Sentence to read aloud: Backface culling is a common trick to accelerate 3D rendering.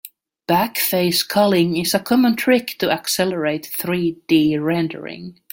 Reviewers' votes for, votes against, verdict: 0, 2, rejected